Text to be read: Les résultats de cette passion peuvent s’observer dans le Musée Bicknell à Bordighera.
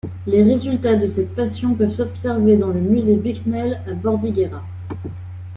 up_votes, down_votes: 2, 0